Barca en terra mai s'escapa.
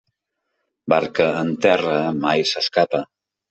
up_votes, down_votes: 3, 0